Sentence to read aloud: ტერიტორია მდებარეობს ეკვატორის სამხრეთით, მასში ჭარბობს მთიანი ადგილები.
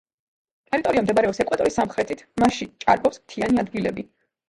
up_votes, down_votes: 2, 0